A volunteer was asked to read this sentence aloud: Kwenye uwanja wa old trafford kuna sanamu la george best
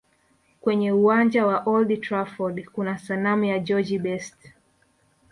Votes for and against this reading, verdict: 2, 1, accepted